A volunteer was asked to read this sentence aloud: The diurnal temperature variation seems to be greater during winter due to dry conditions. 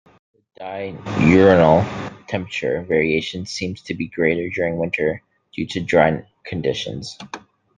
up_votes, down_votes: 1, 2